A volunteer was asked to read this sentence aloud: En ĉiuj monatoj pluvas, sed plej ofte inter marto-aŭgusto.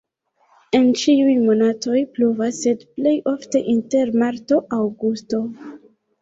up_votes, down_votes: 0, 2